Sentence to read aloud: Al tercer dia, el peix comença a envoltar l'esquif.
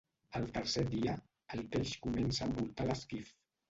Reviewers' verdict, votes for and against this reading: rejected, 0, 2